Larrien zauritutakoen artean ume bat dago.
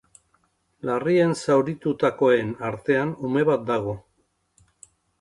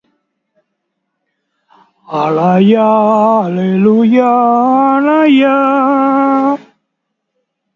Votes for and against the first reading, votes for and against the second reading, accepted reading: 2, 0, 0, 3, first